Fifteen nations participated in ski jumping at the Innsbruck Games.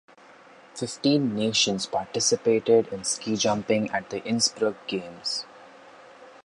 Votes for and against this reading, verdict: 2, 0, accepted